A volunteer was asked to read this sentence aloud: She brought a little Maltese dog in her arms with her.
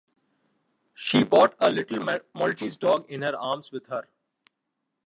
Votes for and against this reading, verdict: 0, 2, rejected